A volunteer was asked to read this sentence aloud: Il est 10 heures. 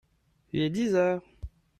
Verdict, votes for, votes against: rejected, 0, 2